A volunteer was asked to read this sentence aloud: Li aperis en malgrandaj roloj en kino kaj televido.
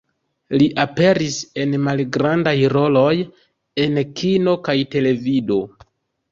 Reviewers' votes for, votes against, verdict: 3, 0, accepted